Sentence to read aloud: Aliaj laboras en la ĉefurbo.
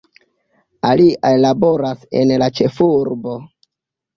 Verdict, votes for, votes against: accepted, 2, 1